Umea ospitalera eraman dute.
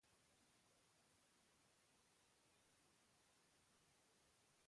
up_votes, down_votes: 0, 2